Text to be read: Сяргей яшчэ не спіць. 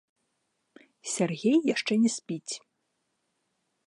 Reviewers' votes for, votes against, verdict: 2, 0, accepted